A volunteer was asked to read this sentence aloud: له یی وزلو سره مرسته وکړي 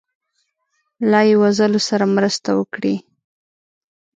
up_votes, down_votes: 1, 2